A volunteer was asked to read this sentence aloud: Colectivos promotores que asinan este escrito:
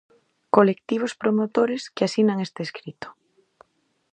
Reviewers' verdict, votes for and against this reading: accepted, 2, 0